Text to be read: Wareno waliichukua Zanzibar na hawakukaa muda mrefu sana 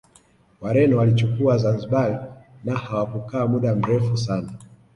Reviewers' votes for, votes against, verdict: 2, 0, accepted